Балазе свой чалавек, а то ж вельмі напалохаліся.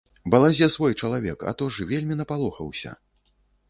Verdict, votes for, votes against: rejected, 0, 2